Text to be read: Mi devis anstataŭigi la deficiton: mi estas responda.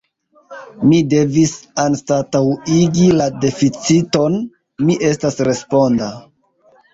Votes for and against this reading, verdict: 3, 1, accepted